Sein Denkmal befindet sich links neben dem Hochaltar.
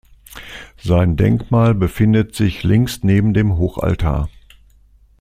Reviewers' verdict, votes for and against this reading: accepted, 2, 0